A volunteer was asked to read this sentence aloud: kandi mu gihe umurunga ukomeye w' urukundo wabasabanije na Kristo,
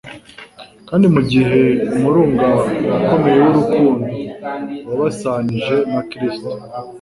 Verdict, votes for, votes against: rejected, 1, 2